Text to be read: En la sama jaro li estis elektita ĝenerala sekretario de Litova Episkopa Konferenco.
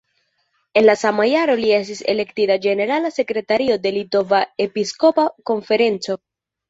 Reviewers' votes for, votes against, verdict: 2, 0, accepted